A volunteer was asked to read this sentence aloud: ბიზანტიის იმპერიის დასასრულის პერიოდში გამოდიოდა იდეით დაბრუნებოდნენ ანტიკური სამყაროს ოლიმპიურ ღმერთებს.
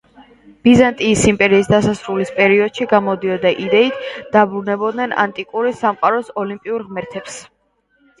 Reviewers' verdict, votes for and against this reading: rejected, 0, 2